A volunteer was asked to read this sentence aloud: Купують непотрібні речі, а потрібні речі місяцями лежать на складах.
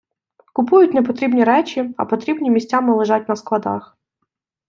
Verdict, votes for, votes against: rejected, 0, 2